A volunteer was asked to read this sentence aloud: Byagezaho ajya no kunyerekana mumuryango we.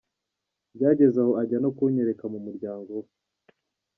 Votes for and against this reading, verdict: 2, 1, accepted